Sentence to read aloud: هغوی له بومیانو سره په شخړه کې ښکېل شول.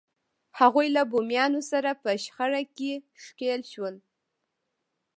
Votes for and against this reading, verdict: 0, 2, rejected